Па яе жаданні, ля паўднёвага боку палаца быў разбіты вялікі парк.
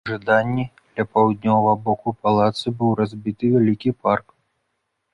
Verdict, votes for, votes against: rejected, 1, 2